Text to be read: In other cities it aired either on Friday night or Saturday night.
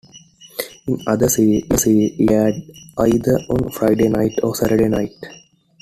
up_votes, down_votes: 0, 2